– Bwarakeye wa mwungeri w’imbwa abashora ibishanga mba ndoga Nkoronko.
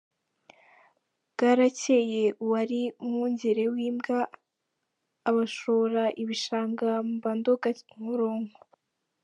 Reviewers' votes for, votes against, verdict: 2, 3, rejected